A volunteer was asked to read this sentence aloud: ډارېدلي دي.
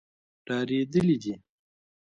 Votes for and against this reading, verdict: 2, 1, accepted